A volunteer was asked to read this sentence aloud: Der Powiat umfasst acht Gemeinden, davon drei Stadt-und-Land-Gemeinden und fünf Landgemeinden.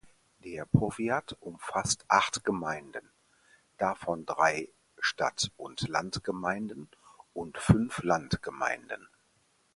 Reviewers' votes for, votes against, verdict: 4, 0, accepted